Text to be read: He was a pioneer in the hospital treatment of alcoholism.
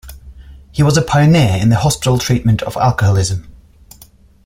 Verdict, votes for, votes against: accepted, 2, 0